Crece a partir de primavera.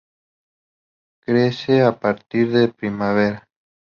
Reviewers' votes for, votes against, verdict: 2, 0, accepted